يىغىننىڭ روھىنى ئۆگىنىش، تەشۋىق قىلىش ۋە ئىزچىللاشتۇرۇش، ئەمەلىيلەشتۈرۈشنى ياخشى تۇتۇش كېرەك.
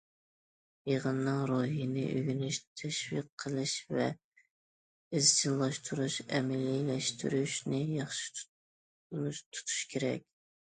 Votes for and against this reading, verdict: 0, 2, rejected